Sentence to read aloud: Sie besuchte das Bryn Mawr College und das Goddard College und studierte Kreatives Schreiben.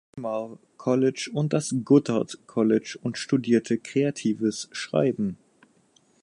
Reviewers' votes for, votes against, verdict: 0, 4, rejected